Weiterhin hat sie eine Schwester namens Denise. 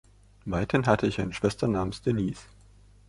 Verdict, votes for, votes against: rejected, 0, 2